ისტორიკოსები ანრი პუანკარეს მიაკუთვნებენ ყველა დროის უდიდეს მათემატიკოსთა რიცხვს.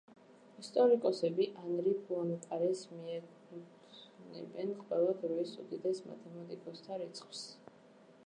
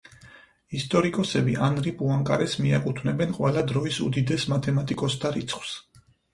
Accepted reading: second